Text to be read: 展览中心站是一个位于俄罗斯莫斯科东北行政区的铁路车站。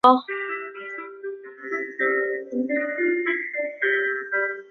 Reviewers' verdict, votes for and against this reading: accepted, 3, 2